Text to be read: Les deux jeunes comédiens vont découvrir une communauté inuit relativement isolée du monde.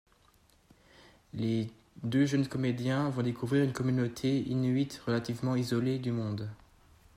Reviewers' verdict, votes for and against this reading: accepted, 2, 0